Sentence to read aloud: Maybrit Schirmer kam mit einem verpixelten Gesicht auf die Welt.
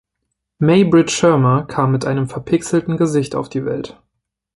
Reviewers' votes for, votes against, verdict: 2, 0, accepted